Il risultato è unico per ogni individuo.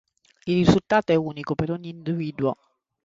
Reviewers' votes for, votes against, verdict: 0, 2, rejected